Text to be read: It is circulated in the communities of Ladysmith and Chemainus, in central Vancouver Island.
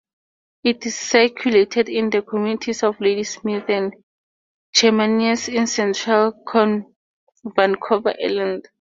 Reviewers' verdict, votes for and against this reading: accepted, 2, 0